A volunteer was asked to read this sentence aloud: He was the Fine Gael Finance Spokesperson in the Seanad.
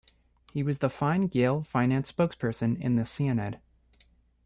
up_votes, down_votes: 0, 2